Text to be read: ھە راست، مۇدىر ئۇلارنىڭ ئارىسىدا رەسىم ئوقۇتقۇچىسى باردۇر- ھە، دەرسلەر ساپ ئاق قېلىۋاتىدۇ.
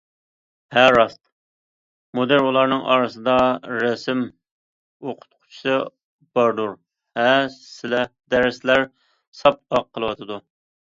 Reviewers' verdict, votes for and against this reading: rejected, 0, 2